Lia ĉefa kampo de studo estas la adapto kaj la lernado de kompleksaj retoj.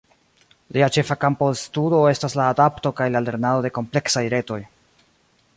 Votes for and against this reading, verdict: 2, 0, accepted